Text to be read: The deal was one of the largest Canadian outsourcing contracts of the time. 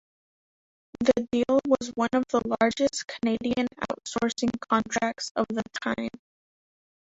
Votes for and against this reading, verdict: 0, 3, rejected